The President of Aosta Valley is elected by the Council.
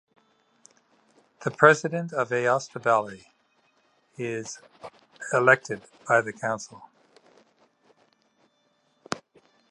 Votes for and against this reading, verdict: 3, 0, accepted